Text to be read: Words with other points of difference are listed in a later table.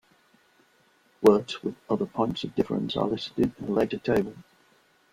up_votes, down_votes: 0, 2